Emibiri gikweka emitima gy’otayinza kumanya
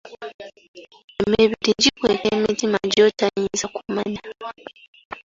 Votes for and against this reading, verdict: 2, 1, accepted